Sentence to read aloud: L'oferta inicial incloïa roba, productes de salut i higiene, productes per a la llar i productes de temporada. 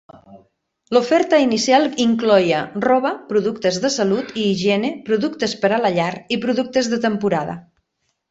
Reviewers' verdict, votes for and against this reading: rejected, 0, 2